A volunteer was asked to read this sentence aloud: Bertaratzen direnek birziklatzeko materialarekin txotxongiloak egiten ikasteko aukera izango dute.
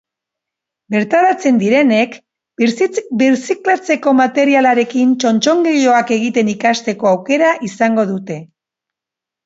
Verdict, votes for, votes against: rejected, 0, 2